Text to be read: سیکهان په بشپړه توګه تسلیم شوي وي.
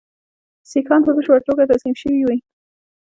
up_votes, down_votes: 2, 0